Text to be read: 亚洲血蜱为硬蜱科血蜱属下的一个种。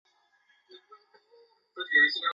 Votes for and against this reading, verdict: 1, 2, rejected